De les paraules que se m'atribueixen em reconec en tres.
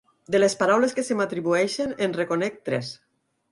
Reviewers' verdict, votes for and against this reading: rejected, 2, 4